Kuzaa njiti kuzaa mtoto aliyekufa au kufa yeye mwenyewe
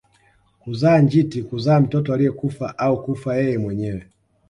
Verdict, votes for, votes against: accepted, 2, 0